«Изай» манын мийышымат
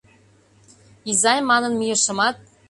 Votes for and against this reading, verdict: 2, 0, accepted